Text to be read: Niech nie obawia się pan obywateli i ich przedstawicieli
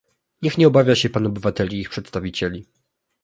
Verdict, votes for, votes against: accepted, 2, 0